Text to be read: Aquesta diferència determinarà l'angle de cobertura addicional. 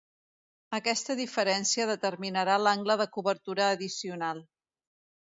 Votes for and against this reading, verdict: 2, 0, accepted